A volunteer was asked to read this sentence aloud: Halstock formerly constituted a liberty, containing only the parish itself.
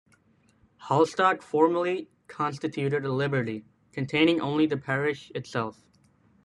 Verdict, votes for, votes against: accepted, 2, 0